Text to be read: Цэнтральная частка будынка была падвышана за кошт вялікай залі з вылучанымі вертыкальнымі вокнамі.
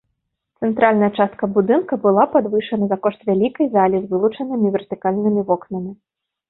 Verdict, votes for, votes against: accepted, 2, 0